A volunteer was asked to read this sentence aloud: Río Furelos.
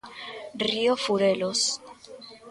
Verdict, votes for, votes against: rejected, 1, 2